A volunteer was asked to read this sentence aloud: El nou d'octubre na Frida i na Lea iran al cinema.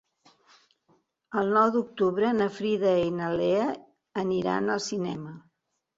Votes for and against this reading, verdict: 0, 2, rejected